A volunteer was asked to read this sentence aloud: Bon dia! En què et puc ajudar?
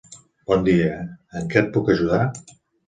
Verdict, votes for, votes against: accepted, 2, 0